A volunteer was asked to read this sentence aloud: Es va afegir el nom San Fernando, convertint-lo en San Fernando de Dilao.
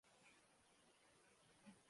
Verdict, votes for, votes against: rejected, 0, 2